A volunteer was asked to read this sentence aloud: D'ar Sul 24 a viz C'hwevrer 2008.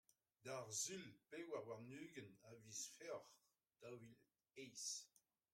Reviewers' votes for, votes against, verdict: 0, 2, rejected